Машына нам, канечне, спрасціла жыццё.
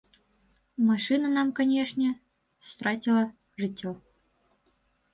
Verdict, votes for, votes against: rejected, 1, 2